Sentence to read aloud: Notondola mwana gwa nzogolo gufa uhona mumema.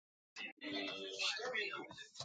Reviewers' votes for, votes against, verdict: 0, 2, rejected